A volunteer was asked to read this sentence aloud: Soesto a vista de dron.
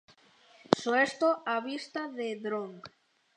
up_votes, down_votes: 2, 0